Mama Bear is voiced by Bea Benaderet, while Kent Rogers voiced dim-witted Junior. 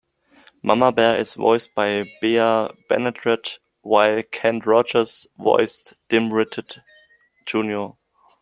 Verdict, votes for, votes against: accepted, 2, 0